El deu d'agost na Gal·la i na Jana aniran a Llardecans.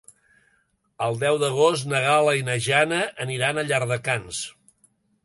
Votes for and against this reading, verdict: 3, 0, accepted